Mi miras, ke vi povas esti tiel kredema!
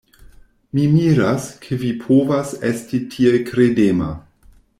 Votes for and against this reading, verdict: 2, 0, accepted